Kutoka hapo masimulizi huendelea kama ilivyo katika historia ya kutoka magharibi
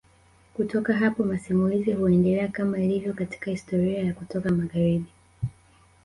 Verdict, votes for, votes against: rejected, 0, 2